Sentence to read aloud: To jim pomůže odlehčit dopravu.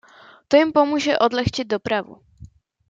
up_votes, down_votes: 2, 0